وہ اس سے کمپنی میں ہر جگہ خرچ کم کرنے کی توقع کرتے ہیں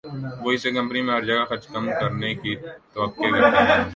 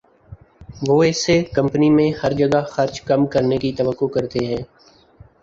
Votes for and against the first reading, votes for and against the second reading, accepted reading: 0, 2, 3, 0, second